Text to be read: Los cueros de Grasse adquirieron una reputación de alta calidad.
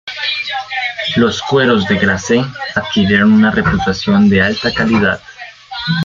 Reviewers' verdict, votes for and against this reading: rejected, 0, 2